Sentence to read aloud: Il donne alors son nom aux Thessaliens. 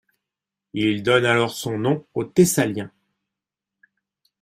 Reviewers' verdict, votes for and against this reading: accepted, 2, 0